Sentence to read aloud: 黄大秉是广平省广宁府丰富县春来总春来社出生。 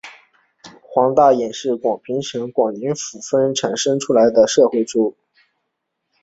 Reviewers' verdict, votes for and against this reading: accepted, 8, 1